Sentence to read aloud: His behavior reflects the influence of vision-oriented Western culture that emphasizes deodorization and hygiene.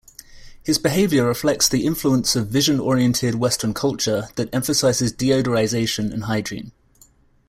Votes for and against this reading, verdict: 2, 0, accepted